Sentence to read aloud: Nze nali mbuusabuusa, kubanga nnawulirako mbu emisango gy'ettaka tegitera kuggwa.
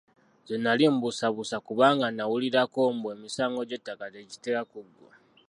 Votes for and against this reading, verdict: 2, 0, accepted